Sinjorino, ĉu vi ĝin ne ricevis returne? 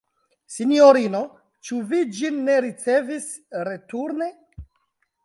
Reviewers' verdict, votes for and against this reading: rejected, 1, 2